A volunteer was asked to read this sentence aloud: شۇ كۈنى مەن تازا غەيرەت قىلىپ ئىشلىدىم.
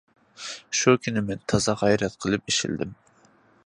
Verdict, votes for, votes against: accepted, 2, 0